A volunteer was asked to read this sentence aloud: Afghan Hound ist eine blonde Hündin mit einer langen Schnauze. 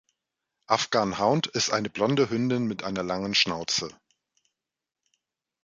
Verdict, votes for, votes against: accepted, 2, 0